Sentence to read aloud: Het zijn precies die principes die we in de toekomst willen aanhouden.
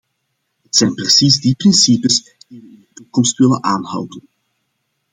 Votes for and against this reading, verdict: 1, 2, rejected